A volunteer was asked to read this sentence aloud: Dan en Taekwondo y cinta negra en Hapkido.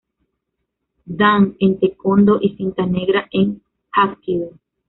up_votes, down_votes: 1, 2